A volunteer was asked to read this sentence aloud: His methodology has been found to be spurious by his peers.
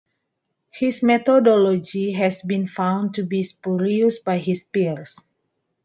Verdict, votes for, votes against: accepted, 2, 0